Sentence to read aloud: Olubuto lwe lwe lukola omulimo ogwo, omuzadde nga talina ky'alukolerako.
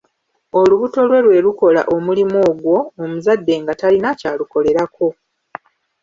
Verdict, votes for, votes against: rejected, 1, 2